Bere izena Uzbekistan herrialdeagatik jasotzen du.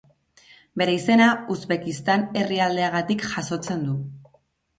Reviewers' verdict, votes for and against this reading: rejected, 1, 2